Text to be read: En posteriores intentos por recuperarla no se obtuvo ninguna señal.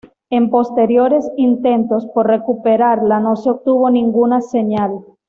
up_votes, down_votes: 2, 0